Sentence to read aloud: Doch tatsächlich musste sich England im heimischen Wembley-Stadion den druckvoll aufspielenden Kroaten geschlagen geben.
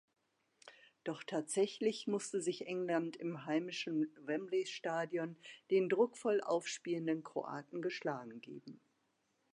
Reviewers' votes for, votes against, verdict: 2, 1, accepted